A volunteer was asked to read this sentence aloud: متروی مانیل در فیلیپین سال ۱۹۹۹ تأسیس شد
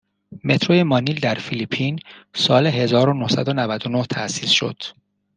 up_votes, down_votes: 0, 2